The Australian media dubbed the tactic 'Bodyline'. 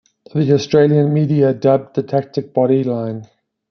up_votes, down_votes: 2, 0